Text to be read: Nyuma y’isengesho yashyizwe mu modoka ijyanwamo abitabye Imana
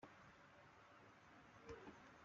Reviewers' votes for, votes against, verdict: 0, 3, rejected